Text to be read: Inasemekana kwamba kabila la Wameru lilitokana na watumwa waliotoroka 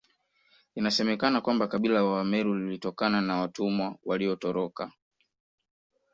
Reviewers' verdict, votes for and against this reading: accepted, 2, 0